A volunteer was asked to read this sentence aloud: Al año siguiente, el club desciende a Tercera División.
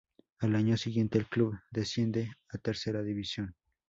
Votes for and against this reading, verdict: 2, 0, accepted